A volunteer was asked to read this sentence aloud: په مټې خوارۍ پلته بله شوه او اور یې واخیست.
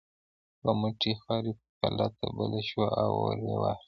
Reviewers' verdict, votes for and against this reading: rejected, 0, 2